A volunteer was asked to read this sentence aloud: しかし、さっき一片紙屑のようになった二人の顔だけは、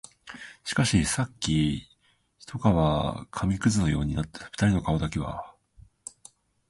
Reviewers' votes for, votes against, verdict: 0, 2, rejected